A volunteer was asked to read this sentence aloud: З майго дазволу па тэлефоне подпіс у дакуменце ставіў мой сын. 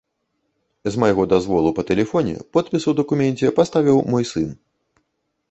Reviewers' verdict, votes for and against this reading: rejected, 0, 2